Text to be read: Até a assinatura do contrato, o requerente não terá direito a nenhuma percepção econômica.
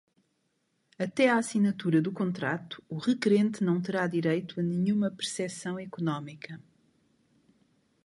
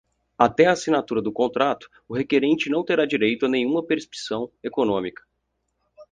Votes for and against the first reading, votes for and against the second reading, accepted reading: 2, 1, 0, 4, first